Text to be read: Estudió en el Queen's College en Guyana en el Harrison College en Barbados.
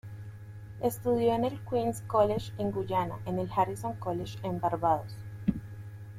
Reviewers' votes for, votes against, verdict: 0, 2, rejected